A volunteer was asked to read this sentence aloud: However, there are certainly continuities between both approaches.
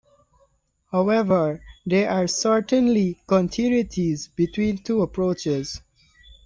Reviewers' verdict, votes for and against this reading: rejected, 1, 2